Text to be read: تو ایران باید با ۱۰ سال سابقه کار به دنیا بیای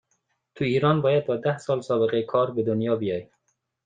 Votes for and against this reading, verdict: 0, 2, rejected